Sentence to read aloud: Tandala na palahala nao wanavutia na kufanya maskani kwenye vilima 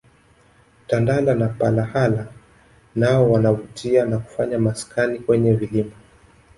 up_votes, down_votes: 2, 1